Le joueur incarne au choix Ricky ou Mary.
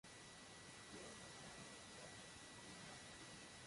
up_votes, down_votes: 0, 2